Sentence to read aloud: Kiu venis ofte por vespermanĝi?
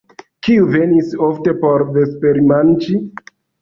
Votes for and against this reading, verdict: 0, 2, rejected